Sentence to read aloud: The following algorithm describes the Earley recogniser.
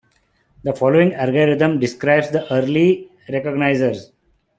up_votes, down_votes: 0, 2